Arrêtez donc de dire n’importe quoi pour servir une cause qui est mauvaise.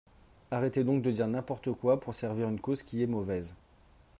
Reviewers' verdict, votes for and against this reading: accepted, 3, 0